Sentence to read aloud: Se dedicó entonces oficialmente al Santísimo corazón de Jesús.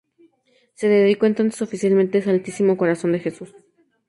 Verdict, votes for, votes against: accepted, 2, 0